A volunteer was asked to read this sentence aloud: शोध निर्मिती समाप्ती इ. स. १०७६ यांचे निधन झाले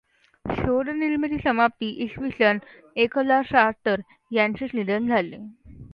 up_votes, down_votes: 0, 2